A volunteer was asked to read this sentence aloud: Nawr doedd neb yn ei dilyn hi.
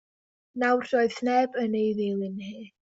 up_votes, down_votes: 1, 2